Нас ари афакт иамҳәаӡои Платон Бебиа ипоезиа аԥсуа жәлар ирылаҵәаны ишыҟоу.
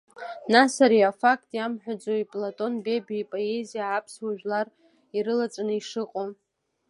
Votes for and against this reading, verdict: 2, 0, accepted